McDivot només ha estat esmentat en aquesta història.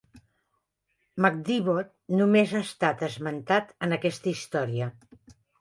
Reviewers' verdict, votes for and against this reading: accepted, 3, 0